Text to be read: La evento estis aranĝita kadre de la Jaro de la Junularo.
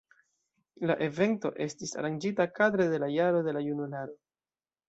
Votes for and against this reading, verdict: 2, 0, accepted